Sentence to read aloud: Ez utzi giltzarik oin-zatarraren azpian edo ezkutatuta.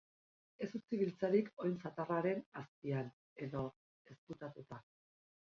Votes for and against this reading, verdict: 0, 2, rejected